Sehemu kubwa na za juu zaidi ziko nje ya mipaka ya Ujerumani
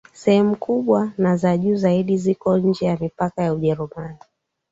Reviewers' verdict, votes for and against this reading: accepted, 2, 0